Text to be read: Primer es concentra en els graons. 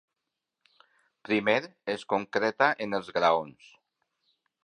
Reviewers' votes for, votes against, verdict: 0, 2, rejected